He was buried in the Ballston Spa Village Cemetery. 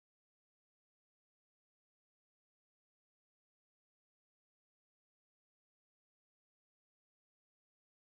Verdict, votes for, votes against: rejected, 0, 2